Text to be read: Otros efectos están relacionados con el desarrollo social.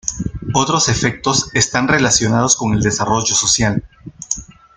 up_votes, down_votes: 2, 0